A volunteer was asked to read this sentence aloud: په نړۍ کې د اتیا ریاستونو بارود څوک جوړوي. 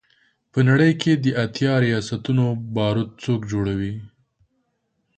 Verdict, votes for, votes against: accepted, 2, 0